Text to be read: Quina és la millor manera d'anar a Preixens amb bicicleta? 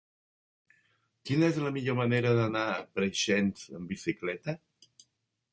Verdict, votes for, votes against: accepted, 3, 0